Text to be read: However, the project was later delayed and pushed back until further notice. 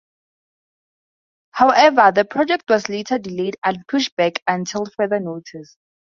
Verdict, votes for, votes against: accepted, 2, 0